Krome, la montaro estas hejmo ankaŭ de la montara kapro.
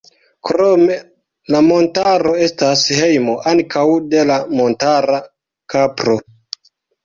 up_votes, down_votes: 2, 0